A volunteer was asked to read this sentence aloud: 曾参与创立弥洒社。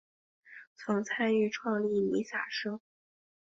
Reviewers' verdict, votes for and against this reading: accepted, 2, 0